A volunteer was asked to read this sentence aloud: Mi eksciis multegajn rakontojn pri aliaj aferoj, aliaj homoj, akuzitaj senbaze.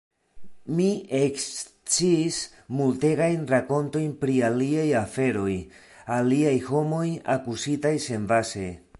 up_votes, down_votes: 2, 0